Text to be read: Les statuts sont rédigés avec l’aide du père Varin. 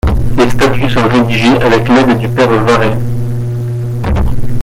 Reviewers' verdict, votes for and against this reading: rejected, 0, 2